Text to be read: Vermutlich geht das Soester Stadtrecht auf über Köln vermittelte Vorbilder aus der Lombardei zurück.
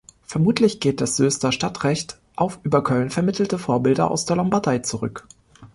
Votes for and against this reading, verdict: 0, 2, rejected